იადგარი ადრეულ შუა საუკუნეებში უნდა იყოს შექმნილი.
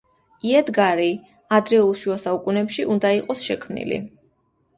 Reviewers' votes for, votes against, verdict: 2, 1, accepted